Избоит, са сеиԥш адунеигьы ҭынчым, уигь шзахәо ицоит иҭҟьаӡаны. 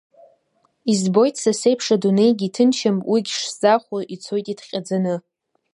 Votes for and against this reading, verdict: 2, 0, accepted